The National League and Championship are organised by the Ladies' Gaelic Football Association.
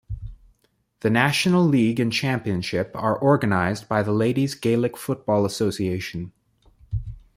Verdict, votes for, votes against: rejected, 1, 2